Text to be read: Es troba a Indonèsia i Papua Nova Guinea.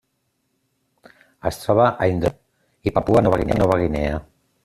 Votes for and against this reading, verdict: 0, 2, rejected